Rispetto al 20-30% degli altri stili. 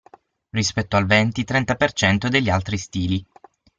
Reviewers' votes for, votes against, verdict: 0, 2, rejected